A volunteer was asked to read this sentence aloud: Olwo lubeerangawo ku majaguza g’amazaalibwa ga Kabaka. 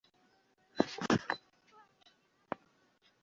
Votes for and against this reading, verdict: 1, 2, rejected